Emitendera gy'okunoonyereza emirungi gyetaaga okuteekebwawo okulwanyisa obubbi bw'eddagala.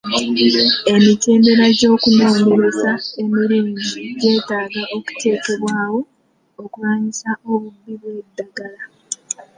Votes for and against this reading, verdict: 1, 2, rejected